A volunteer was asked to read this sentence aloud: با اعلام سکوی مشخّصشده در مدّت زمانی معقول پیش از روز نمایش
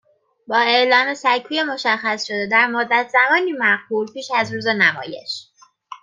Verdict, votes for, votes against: accepted, 2, 0